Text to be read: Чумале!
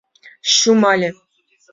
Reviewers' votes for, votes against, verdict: 0, 2, rejected